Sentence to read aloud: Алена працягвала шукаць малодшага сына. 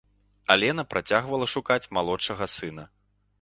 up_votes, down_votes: 2, 0